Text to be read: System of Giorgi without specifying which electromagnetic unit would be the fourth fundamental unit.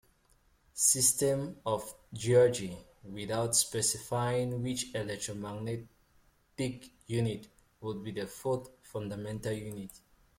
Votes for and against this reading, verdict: 0, 2, rejected